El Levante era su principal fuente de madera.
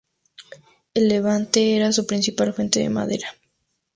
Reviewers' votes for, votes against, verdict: 4, 0, accepted